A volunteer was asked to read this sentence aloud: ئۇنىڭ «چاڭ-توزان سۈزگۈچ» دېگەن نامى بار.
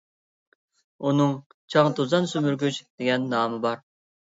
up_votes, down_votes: 0, 2